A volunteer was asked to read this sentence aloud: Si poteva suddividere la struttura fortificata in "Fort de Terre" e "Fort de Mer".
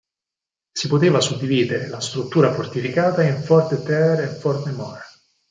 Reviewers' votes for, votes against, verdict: 2, 4, rejected